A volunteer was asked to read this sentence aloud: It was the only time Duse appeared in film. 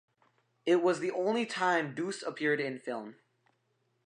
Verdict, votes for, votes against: accepted, 2, 0